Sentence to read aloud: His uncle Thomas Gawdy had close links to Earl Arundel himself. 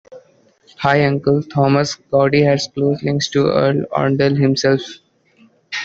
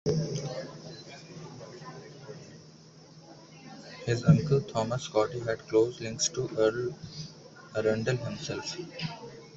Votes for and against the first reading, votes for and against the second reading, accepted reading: 0, 2, 2, 0, second